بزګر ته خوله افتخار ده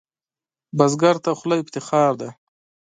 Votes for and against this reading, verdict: 0, 2, rejected